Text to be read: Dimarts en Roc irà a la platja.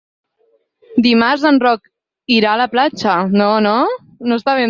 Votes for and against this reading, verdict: 0, 4, rejected